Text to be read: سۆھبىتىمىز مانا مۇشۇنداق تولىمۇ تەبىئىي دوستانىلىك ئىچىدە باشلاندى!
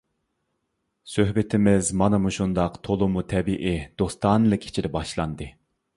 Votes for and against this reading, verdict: 2, 0, accepted